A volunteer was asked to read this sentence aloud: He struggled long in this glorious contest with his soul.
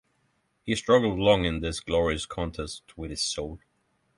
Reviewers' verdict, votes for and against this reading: accepted, 3, 0